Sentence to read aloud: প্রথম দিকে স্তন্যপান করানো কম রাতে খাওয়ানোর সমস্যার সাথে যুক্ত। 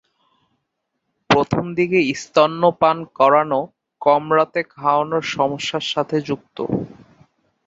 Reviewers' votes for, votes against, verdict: 3, 3, rejected